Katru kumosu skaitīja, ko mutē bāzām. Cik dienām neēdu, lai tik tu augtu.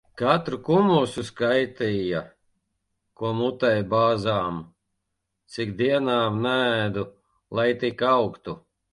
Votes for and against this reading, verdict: 0, 2, rejected